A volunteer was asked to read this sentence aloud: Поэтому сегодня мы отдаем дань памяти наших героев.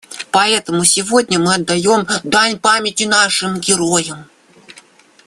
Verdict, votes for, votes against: rejected, 0, 2